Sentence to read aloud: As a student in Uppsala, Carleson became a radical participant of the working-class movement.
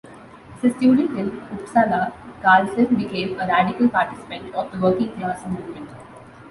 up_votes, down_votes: 1, 2